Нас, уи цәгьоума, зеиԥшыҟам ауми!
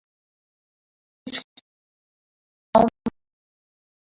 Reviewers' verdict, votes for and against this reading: rejected, 0, 2